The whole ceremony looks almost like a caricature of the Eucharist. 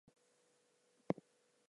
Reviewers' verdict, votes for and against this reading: rejected, 0, 2